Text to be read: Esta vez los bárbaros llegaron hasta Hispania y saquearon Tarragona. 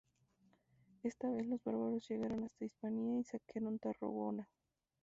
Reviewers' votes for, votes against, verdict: 0, 2, rejected